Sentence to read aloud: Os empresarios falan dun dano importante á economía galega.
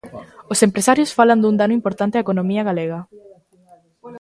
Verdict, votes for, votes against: rejected, 1, 2